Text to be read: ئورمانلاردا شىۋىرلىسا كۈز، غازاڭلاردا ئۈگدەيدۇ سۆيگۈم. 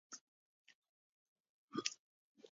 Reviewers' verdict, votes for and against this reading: rejected, 0, 2